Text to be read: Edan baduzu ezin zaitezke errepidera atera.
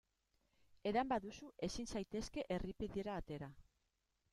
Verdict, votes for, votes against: rejected, 1, 4